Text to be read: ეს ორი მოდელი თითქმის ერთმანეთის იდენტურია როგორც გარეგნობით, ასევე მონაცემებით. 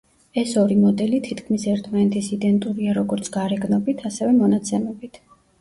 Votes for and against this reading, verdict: 2, 0, accepted